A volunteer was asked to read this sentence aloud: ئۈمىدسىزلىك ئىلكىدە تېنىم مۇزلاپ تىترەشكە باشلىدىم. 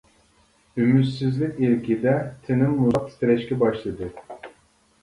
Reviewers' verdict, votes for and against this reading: rejected, 1, 2